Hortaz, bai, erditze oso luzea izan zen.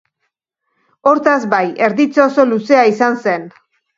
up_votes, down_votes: 2, 0